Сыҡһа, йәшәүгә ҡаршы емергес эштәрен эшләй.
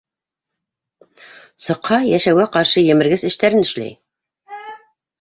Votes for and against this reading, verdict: 1, 2, rejected